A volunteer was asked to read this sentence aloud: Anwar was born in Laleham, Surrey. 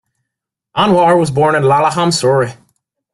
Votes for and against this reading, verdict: 2, 0, accepted